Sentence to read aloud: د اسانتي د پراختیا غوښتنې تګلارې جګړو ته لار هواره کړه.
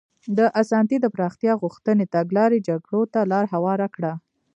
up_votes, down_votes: 0, 2